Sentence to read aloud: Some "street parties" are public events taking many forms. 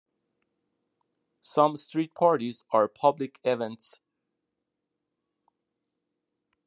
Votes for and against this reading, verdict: 1, 2, rejected